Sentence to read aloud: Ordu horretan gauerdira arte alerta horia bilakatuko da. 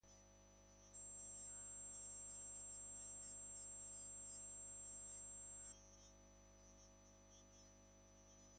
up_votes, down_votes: 0, 2